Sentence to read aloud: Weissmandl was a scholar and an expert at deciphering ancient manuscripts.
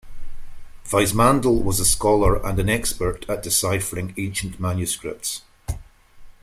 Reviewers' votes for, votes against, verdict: 2, 1, accepted